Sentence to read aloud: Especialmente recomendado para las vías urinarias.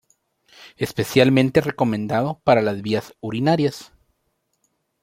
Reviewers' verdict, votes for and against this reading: rejected, 0, 2